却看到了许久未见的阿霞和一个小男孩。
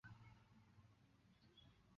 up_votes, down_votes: 0, 3